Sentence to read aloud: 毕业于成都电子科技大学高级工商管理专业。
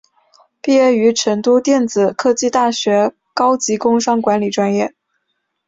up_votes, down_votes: 2, 1